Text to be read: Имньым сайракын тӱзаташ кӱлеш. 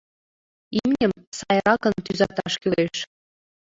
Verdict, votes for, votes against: rejected, 1, 2